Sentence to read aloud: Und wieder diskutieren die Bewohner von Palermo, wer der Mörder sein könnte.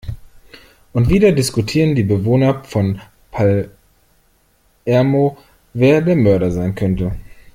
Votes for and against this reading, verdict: 1, 2, rejected